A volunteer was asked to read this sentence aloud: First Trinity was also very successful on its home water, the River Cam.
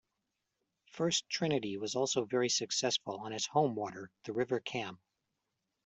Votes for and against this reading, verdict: 2, 0, accepted